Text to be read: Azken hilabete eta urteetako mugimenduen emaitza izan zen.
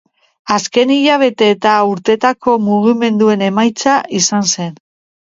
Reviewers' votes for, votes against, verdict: 3, 0, accepted